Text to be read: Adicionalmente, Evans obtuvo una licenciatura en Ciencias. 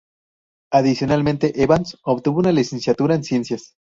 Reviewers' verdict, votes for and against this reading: accepted, 2, 0